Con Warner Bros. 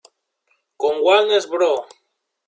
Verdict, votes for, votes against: rejected, 1, 2